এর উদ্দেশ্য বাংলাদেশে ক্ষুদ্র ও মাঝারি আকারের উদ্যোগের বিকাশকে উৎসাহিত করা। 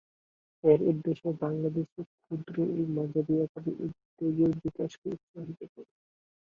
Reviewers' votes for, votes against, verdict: 0, 2, rejected